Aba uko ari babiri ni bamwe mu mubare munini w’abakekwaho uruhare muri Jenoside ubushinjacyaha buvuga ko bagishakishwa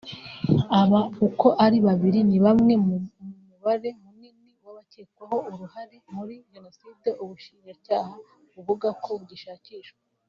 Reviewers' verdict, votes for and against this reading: rejected, 0, 2